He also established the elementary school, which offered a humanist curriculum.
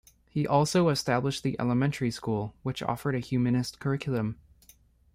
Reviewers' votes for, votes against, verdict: 2, 0, accepted